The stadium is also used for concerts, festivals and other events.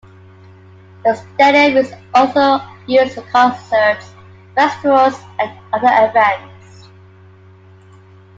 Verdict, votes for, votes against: accepted, 2, 1